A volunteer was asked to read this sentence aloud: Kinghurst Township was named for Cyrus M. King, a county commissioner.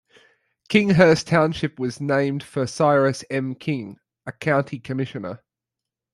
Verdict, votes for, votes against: accepted, 2, 0